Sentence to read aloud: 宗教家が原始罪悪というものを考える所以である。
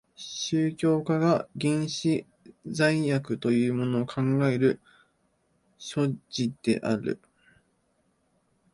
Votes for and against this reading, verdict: 0, 2, rejected